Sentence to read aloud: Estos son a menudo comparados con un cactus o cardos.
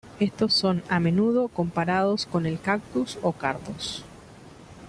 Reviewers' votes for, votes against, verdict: 1, 2, rejected